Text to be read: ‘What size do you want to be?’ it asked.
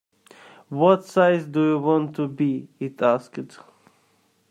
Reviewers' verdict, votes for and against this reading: rejected, 0, 2